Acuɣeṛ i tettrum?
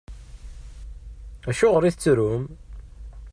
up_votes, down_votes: 2, 0